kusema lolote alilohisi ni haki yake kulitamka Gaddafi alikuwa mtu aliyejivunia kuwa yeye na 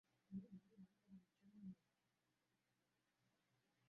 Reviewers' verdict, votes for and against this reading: rejected, 0, 2